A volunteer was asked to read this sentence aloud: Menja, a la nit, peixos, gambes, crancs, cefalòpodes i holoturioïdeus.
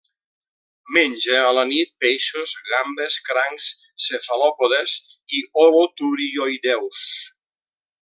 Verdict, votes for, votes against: accepted, 2, 0